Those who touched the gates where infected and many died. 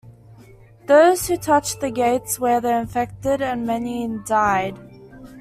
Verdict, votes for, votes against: rejected, 0, 2